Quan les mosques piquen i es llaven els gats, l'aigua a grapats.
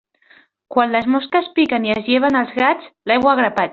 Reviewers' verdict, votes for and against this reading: rejected, 0, 2